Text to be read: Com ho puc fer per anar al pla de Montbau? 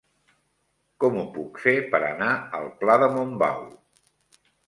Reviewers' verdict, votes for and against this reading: accepted, 2, 0